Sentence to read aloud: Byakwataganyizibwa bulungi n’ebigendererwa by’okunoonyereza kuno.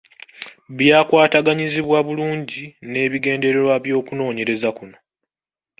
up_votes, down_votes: 2, 0